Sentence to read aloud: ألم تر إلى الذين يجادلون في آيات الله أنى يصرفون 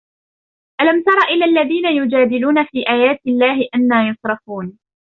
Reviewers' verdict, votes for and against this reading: accepted, 2, 1